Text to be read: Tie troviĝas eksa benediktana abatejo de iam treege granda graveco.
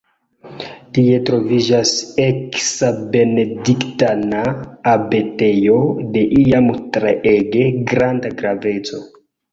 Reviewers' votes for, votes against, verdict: 1, 2, rejected